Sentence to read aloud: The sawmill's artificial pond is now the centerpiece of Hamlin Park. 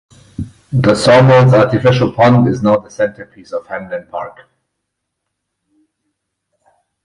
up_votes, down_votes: 4, 0